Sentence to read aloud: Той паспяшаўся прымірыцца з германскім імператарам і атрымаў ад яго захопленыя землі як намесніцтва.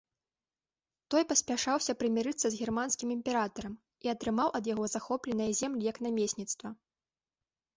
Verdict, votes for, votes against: accepted, 2, 0